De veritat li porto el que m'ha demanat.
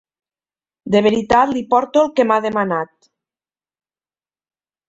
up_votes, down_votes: 3, 0